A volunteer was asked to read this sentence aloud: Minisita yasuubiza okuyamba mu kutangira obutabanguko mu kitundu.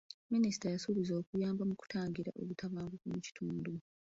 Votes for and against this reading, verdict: 1, 2, rejected